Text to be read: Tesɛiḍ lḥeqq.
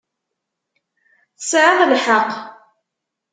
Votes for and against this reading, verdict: 2, 0, accepted